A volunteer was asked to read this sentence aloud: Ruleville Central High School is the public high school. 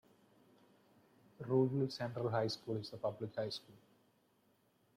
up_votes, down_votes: 0, 2